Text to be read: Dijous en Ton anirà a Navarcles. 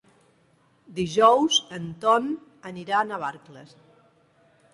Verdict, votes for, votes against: accepted, 2, 0